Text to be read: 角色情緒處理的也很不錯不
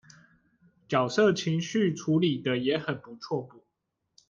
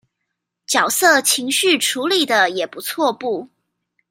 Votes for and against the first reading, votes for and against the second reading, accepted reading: 1, 2, 2, 1, second